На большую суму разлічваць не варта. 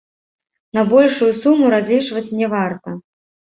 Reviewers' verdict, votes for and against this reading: rejected, 1, 2